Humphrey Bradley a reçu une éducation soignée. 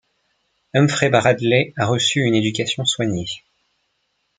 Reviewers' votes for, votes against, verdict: 2, 0, accepted